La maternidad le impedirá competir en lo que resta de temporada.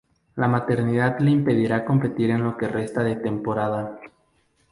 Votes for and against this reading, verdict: 4, 0, accepted